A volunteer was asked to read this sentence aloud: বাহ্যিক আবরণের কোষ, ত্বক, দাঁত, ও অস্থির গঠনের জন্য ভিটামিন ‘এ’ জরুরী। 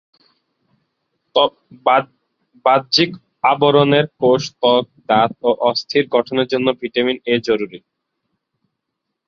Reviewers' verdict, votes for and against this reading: rejected, 0, 2